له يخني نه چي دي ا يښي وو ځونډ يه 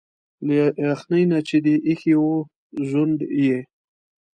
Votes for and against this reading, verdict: 2, 1, accepted